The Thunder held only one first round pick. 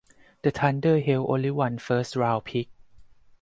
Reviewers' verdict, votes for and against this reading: accepted, 6, 2